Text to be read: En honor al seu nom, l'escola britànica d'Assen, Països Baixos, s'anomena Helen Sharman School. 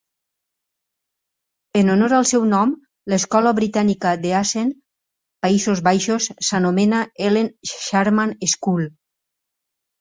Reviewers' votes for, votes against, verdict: 0, 4, rejected